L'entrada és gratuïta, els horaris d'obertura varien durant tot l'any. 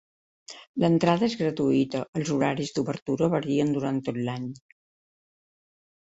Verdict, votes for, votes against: accepted, 2, 1